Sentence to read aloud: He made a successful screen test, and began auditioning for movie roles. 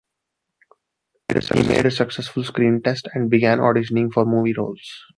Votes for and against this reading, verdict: 0, 2, rejected